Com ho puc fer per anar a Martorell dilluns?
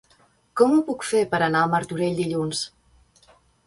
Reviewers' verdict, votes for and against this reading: accepted, 2, 0